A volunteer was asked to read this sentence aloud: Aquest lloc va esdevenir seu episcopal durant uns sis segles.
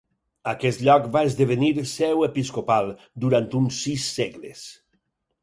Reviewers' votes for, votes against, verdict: 4, 0, accepted